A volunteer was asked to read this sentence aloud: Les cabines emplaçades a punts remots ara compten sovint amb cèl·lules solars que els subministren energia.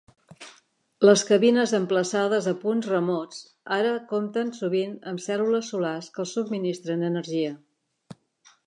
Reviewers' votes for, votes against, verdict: 3, 0, accepted